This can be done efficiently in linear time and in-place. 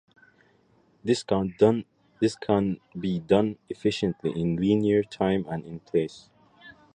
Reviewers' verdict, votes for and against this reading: rejected, 0, 2